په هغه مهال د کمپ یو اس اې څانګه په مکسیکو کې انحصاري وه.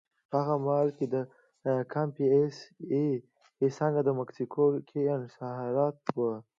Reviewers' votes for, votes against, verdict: 1, 2, rejected